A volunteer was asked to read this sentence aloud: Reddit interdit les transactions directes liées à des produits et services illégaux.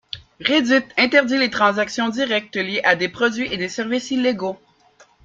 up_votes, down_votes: 2, 3